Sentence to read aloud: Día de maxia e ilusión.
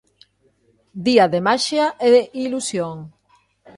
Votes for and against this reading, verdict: 2, 0, accepted